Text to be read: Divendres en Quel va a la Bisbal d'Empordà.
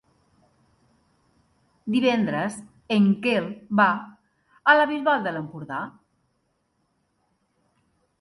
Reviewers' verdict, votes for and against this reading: rejected, 1, 2